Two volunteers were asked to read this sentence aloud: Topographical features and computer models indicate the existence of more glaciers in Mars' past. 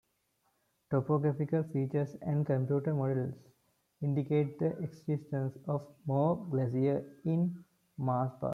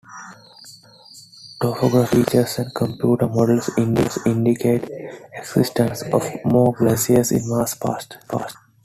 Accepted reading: first